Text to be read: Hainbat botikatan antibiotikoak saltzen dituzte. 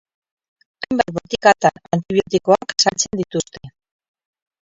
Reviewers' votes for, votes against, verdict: 0, 4, rejected